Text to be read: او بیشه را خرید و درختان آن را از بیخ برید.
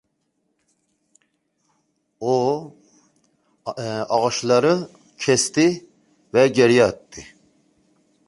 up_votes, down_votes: 0, 2